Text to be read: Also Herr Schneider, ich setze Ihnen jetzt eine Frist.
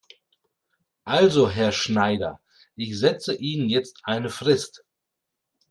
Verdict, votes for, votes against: accepted, 2, 0